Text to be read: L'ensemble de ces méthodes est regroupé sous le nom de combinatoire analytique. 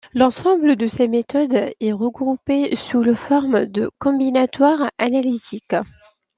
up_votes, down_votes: 0, 2